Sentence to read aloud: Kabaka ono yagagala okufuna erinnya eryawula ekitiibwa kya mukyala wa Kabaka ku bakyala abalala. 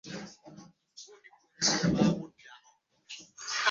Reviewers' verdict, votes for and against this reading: rejected, 0, 2